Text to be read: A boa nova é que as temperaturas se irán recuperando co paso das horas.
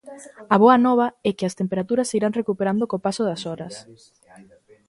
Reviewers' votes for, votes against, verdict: 2, 0, accepted